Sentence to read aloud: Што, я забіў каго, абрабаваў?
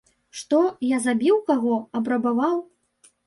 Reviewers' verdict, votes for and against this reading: accepted, 2, 0